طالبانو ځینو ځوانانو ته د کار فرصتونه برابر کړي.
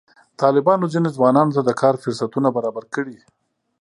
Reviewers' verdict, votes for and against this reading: accepted, 2, 0